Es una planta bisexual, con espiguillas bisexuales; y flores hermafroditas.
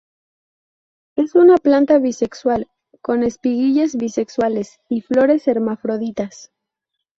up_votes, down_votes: 0, 2